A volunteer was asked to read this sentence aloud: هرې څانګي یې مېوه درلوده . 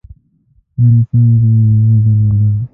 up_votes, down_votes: 0, 2